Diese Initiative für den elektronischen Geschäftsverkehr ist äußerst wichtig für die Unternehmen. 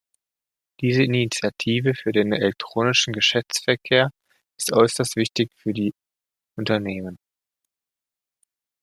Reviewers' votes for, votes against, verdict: 2, 0, accepted